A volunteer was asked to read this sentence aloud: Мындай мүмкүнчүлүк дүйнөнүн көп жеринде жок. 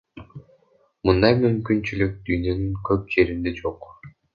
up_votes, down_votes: 1, 2